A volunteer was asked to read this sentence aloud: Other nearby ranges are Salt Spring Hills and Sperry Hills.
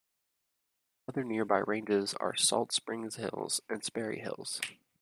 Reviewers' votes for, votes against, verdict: 1, 2, rejected